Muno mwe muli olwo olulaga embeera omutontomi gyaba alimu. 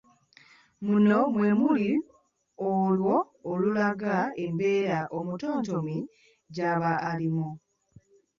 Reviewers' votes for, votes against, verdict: 2, 1, accepted